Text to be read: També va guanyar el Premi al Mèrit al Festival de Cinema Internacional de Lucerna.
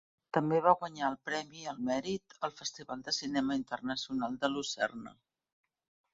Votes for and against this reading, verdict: 2, 0, accepted